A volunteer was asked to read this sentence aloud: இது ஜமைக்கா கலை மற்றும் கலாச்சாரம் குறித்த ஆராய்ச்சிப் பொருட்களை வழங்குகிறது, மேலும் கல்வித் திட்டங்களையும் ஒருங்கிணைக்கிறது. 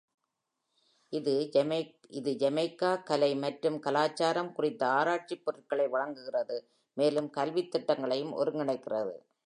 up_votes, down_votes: 2, 0